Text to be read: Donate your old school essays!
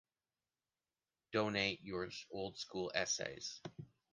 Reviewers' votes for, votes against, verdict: 0, 2, rejected